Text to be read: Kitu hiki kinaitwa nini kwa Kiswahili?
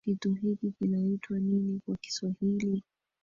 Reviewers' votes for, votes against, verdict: 1, 2, rejected